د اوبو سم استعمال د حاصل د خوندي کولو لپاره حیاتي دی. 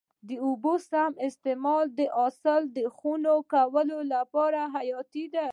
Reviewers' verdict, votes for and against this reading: rejected, 0, 2